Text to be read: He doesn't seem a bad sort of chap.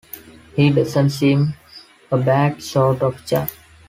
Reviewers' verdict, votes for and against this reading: accepted, 2, 0